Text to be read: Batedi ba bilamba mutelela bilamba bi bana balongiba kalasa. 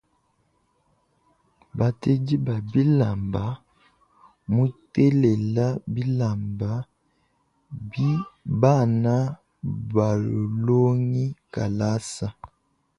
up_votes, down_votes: 0, 2